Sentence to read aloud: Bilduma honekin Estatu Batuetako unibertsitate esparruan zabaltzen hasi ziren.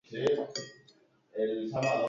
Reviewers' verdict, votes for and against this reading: rejected, 0, 4